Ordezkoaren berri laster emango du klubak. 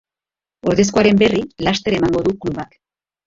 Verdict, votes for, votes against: accepted, 2, 0